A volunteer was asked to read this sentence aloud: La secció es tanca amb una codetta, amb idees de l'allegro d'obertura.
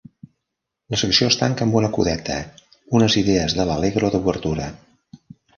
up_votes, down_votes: 0, 2